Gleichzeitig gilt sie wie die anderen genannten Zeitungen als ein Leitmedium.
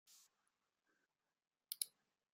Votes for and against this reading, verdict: 0, 2, rejected